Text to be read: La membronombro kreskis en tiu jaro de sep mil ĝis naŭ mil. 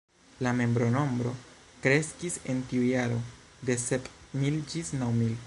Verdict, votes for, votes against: rejected, 1, 2